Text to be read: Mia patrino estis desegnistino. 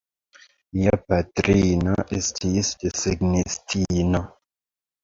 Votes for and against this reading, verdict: 1, 2, rejected